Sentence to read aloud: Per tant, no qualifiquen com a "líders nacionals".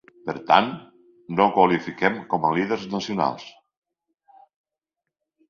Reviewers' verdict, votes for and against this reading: rejected, 1, 2